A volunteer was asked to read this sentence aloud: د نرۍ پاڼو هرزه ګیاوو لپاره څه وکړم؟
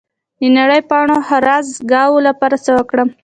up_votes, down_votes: 2, 0